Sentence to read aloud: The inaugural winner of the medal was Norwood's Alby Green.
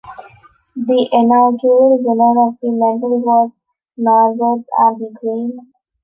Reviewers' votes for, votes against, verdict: 2, 0, accepted